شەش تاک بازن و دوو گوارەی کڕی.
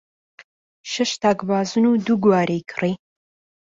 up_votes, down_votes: 2, 0